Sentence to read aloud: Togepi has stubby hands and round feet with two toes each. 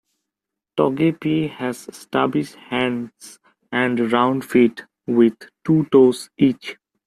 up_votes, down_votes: 0, 2